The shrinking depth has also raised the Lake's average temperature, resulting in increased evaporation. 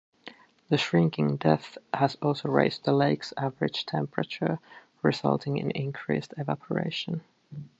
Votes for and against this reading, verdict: 2, 0, accepted